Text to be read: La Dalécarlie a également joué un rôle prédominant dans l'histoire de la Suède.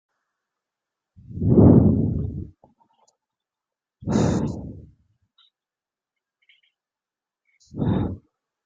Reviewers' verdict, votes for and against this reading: rejected, 0, 2